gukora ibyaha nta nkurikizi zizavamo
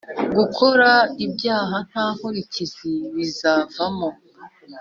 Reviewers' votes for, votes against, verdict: 0, 2, rejected